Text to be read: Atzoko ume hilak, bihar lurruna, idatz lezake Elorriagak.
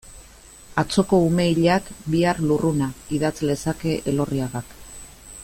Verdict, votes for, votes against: accepted, 2, 0